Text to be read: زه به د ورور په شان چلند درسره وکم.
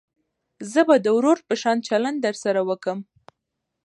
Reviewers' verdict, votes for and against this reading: accepted, 2, 0